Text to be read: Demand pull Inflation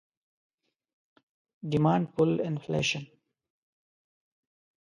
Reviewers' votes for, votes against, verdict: 1, 2, rejected